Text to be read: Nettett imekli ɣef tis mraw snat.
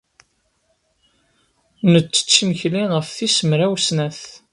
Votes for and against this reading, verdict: 0, 2, rejected